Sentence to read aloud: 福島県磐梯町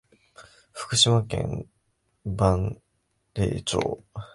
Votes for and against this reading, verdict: 0, 2, rejected